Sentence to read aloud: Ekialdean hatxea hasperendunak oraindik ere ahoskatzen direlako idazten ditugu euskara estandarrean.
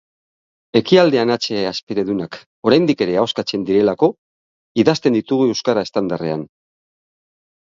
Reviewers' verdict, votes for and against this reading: accepted, 2, 0